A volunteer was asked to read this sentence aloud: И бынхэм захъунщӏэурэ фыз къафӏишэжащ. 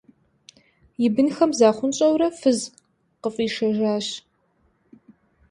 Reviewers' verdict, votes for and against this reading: rejected, 1, 2